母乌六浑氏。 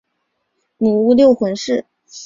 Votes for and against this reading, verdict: 4, 0, accepted